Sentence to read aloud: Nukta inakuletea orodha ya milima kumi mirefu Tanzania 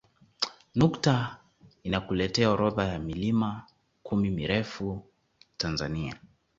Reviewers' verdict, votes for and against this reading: accepted, 2, 0